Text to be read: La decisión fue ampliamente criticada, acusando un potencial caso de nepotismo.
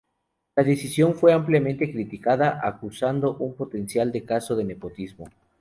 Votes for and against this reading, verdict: 0, 2, rejected